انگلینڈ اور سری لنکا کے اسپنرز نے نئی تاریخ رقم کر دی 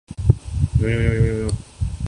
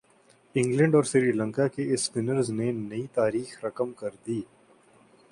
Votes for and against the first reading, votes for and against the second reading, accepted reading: 0, 2, 11, 0, second